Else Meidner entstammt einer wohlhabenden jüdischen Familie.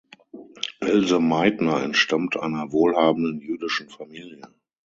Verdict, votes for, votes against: rejected, 3, 6